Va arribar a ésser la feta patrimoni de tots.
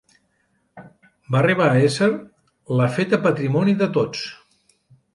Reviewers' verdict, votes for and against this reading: accepted, 2, 1